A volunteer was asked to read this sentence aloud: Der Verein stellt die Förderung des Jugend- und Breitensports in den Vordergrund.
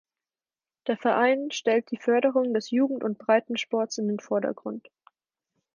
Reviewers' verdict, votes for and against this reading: accepted, 4, 0